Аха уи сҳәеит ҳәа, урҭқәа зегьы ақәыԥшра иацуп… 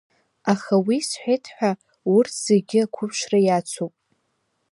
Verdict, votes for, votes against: accepted, 2, 1